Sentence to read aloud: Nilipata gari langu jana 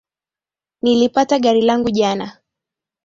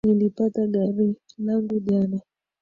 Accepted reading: first